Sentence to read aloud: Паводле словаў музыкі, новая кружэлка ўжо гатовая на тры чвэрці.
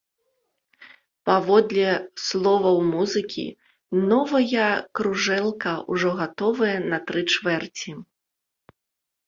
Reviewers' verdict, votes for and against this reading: rejected, 1, 2